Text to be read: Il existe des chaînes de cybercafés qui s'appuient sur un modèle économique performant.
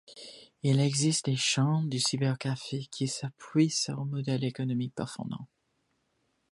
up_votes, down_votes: 3, 2